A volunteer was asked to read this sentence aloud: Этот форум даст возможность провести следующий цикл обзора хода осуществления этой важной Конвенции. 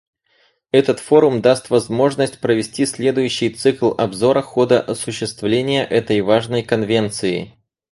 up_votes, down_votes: 4, 2